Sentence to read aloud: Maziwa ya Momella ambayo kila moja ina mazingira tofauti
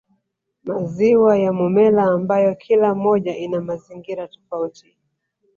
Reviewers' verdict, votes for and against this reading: rejected, 1, 2